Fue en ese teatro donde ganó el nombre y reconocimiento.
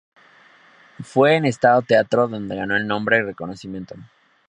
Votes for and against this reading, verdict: 0, 2, rejected